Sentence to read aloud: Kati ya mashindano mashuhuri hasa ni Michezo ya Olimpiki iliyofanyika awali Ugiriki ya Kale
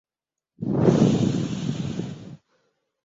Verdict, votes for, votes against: rejected, 0, 2